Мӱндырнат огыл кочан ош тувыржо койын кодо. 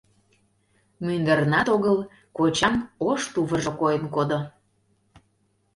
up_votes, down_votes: 2, 0